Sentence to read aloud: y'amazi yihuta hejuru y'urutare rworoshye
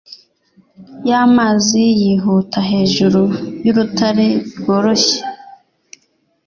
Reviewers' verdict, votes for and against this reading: accepted, 2, 0